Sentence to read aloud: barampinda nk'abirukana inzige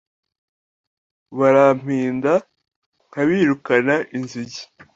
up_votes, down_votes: 2, 0